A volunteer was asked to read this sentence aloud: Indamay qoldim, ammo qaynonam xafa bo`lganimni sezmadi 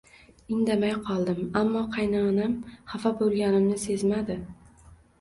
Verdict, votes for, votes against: accepted, 2, 0